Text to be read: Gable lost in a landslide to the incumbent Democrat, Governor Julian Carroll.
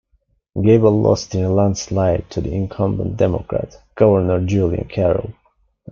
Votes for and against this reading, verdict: 1, 2, rejected